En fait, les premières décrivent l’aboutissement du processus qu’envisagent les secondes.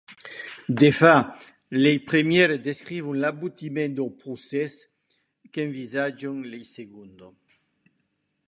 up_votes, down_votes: 1, 2